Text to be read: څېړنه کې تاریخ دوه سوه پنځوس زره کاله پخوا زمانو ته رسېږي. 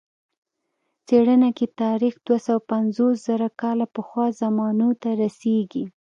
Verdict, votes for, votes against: accepted, 2, 0